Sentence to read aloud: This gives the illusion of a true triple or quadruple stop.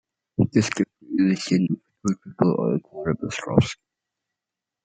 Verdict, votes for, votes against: rejected, 0, 2